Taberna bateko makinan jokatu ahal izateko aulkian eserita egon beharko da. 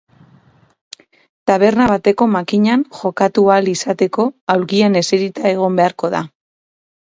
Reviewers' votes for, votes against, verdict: 6, 0, accepted